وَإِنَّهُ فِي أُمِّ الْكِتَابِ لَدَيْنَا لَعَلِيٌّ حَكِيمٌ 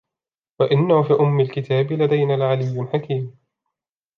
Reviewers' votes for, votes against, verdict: 2, 1, accepted